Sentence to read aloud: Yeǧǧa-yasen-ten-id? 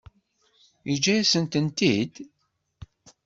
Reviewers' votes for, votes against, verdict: 1, 2, rejected